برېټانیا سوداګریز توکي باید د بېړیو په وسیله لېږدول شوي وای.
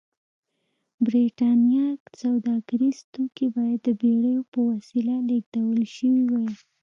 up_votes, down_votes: 2, 0